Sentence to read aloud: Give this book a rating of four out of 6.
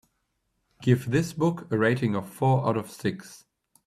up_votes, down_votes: 0, 2